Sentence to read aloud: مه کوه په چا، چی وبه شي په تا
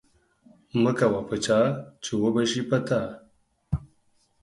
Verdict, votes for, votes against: accepted, 4, 0